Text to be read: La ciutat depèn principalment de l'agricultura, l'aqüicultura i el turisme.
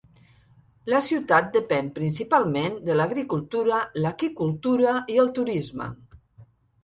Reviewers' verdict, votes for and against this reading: rejected, 1, 2